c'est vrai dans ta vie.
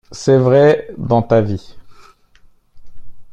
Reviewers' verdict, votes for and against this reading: accepted, 3, 2